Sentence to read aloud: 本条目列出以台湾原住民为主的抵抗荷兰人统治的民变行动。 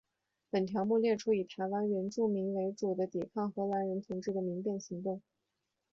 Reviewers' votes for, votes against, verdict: 4, 1, accepted